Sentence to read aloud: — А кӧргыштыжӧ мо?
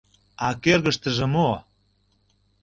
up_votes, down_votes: 2, 0